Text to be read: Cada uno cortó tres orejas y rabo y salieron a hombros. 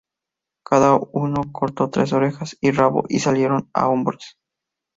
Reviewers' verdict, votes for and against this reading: accepted, 2, 0